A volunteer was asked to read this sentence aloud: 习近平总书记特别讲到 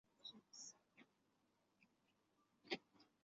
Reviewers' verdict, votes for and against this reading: rejected, 0, 5